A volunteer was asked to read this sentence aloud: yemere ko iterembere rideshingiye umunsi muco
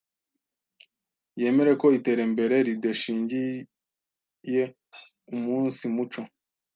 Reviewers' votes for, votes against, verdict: 1, 2, rejected